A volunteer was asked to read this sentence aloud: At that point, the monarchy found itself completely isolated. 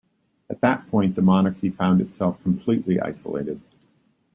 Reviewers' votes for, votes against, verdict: 2, 0, accepted